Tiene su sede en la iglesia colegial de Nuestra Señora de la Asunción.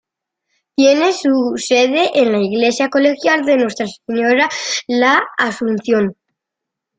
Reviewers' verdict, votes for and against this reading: rejected, 1, 2